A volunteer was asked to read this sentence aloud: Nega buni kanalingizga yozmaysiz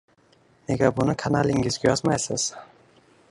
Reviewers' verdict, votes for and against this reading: rejected, 1, 2